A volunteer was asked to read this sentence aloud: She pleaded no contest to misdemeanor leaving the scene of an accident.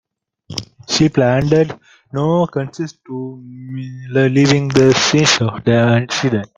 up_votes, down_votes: 0, 2